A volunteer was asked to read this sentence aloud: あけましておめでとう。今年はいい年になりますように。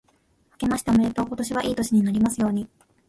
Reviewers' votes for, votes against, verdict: 1, 2, rejected